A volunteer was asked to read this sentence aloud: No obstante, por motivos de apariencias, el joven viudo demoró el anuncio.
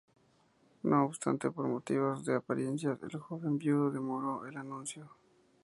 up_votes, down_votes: 2, 0